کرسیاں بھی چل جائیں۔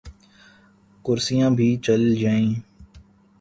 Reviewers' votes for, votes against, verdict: 6, 0, accepted